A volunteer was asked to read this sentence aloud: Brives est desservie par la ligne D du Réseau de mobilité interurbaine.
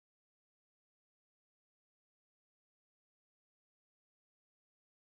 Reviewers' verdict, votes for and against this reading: rejected, 0, 2